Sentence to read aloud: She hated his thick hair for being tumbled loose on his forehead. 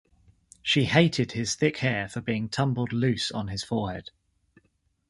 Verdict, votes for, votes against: rejected, 1, 2